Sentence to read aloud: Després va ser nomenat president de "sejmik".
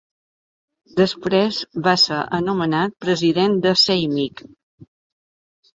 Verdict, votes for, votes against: rejected, 1, 2